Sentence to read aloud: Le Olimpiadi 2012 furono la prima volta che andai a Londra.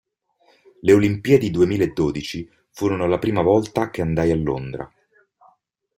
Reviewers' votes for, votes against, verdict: 0, 2, rejected